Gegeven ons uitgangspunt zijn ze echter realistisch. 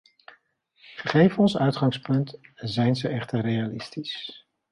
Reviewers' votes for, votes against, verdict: 2, 0, accepted